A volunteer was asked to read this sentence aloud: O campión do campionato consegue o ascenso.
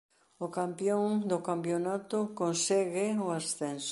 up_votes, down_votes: 0, 2